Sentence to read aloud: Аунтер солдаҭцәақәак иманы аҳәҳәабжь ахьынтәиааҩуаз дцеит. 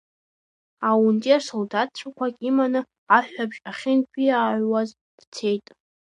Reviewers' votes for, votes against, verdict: 2, 1, accepted